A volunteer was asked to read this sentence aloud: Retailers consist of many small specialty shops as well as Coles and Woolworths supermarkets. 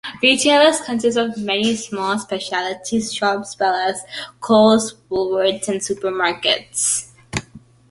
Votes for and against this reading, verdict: 1, 2, rejected